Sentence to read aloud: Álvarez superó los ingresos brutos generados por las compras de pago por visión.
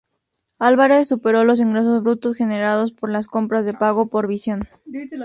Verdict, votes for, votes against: accepted, 2, 0